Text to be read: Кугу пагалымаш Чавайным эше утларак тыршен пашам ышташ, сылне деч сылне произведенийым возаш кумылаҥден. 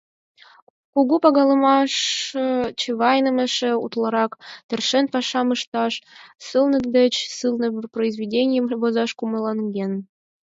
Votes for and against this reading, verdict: 2, 4, rejected